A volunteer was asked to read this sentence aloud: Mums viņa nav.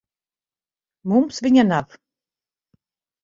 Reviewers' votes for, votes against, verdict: 2, 4, rejected